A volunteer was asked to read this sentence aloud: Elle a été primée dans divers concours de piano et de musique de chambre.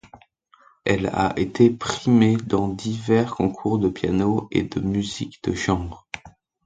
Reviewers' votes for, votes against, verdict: 2, 0, accepted